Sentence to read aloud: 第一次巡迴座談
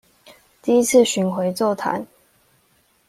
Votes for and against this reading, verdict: 2, 0, accepted